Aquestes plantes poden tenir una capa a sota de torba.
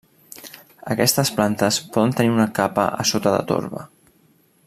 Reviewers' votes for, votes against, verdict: 3, 0, accepted